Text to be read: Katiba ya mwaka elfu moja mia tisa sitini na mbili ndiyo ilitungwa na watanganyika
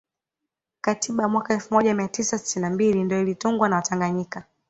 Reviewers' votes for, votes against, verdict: 2, 0, accepted